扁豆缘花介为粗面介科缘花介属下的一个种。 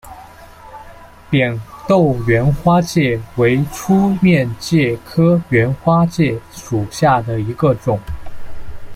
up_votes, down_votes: 0, 2